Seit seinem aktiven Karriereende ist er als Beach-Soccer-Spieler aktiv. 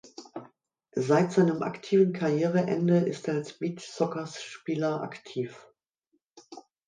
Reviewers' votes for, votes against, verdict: 1, 2, rejected